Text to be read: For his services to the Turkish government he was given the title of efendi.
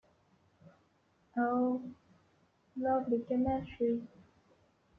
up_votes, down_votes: 0, 2